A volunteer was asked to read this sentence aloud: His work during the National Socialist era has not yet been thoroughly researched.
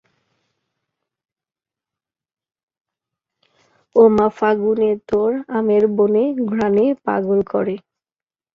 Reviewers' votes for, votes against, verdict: 0, 2, rejected